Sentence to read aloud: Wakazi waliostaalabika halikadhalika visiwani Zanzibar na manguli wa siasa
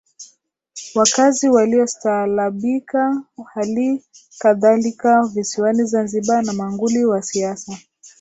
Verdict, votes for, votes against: accepted, 3, 1